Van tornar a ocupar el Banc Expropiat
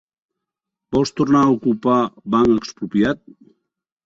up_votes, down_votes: 0, 2